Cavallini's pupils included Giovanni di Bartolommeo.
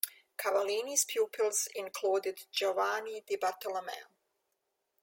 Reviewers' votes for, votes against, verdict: 2, 0, accepted